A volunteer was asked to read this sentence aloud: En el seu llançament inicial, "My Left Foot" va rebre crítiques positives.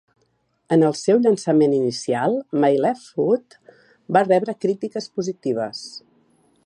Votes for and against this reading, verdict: 3, 0, accepted